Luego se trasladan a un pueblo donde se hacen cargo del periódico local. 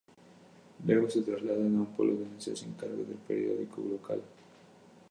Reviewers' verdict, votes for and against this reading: accepted, 2, 0